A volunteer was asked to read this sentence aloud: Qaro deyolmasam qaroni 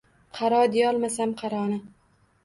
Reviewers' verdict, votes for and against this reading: accepted, 2, 0